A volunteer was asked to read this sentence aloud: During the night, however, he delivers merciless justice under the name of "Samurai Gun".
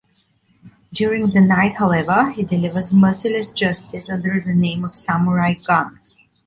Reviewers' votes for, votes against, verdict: 2, 0, accepted